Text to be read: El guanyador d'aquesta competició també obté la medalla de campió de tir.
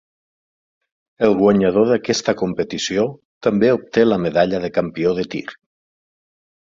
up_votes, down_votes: 9, 0